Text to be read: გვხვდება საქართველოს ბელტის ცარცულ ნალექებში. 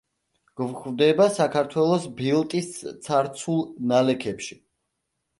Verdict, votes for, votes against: rejected, 1, 2